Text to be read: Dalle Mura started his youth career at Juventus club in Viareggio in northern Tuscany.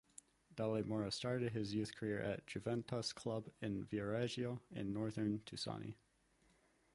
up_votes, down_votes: 0, 2